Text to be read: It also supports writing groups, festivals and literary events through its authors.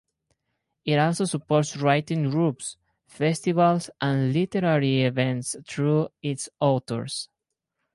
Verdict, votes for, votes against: accepted, 4, 2